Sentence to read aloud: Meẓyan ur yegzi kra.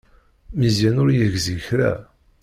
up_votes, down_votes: 1, 2